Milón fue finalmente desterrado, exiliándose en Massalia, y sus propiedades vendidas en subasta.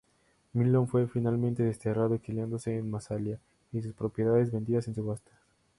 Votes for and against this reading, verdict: 2, 0, accepted